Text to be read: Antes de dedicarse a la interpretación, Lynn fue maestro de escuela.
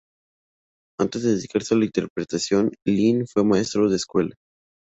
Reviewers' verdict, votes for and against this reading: rejected, 0, 2